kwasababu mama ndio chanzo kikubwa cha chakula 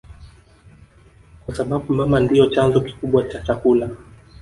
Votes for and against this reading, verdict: 0, 2, rejected